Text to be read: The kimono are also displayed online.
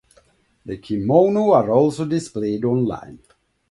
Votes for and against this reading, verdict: 2, 0, accepted